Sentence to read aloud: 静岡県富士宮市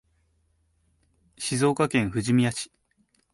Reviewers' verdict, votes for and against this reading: rejected, 0, 2